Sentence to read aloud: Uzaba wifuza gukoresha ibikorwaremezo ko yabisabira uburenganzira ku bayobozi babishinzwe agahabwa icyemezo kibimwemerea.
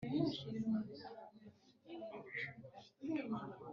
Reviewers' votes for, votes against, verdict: 1, 2, rejected